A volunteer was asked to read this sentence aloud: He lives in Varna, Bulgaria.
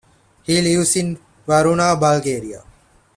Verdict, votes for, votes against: rejected, 1, 2